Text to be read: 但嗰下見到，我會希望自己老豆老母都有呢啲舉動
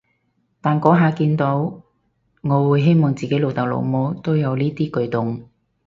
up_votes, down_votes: 4, 0